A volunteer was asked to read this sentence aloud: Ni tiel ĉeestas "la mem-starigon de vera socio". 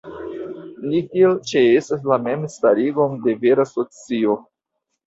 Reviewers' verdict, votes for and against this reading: accepted, 2, 1